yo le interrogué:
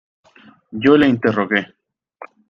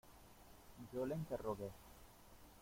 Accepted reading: first